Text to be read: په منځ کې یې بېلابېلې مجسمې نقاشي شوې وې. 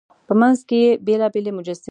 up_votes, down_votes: 1, 2